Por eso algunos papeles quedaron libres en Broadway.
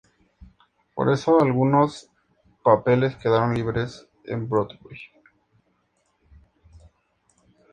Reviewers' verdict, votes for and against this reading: accepted, 4, 0